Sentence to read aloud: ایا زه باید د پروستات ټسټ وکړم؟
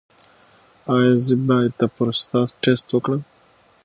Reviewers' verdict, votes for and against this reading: accepted, 6, 0